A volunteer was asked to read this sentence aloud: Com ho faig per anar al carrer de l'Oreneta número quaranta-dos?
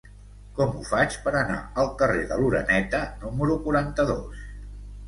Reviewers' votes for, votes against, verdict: 2, 0, accepted